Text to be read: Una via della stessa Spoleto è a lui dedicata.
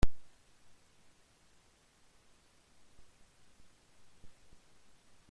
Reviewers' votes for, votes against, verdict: 0, 3, rejected